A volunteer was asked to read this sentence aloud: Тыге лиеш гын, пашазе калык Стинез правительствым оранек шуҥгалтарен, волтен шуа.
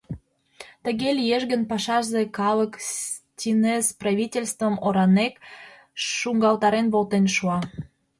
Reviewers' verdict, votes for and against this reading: accepted, 2, 0